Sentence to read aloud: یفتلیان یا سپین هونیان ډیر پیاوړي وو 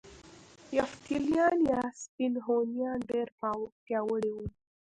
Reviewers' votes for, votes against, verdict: 1, 2, rejected